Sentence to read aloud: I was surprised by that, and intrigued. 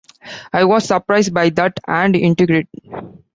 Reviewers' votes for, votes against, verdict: 1, 2, rejected